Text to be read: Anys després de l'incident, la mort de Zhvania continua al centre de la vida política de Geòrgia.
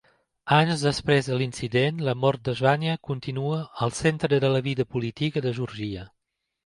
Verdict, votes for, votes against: rejected, 0, 2